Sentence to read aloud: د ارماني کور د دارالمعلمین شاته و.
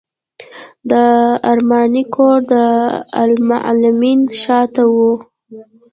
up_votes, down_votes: 1, 2